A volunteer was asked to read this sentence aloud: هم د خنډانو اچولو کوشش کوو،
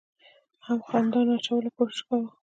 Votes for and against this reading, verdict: 2, 0, accepted